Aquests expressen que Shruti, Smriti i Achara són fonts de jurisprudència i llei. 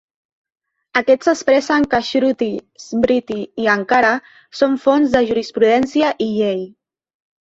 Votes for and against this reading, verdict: 0, 2, rejected